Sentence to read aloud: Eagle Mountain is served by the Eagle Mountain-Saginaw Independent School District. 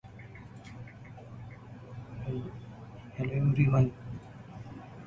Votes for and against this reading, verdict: 0, 2, rejected